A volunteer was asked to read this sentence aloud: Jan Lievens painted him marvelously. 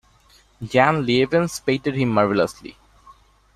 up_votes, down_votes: 2, 1